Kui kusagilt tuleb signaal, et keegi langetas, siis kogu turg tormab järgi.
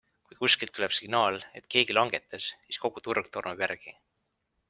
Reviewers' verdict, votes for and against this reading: accepted, 2, 0